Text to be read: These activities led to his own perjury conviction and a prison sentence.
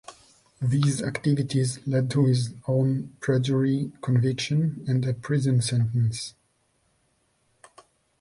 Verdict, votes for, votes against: accepted, 2, 0